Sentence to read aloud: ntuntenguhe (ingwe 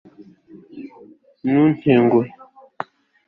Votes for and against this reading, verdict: 0, 2, rejected